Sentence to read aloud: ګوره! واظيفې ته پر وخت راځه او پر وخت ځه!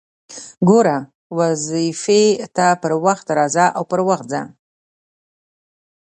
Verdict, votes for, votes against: rejected, 1, 2